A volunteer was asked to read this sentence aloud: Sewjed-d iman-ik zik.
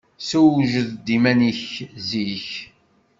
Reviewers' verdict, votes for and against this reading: accepted, 2, 0